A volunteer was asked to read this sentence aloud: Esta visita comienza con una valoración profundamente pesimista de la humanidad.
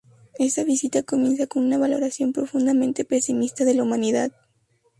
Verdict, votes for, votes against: rejected, 0, 2